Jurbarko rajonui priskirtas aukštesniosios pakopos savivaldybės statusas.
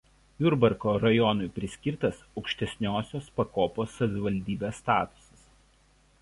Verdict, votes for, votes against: accepted, 2, 1